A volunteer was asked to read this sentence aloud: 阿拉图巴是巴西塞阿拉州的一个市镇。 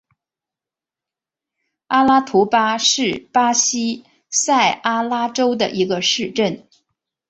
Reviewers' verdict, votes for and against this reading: accepted, 2, 0